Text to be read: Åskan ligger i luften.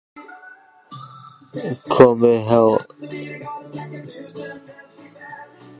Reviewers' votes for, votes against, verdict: 0, 2, rejected